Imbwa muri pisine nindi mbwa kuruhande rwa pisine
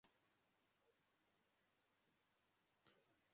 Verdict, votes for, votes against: rejected, 0, 2